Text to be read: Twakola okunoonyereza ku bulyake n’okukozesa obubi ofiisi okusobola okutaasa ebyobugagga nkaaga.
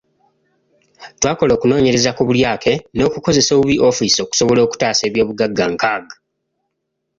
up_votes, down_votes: 2, 0